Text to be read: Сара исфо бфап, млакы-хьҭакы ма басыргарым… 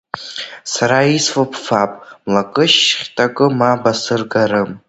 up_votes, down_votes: 0, 2